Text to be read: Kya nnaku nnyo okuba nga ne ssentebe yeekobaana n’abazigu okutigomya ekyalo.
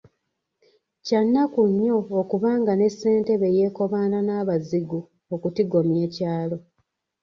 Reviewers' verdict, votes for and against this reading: accepted, 2, 1